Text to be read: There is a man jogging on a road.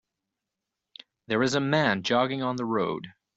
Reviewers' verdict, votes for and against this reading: rejected, 0, 2